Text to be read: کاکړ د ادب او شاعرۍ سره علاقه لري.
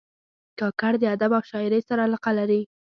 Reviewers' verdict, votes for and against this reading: accepted, 2, 0